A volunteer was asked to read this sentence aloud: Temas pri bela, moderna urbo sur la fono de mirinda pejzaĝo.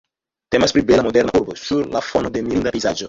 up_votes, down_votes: 1, 2